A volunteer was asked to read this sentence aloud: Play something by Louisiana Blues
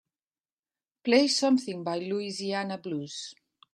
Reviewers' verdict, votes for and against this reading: accepted, 2, 0